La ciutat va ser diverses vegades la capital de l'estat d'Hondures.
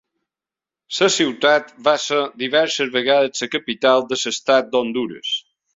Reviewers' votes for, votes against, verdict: 1, 3, rejected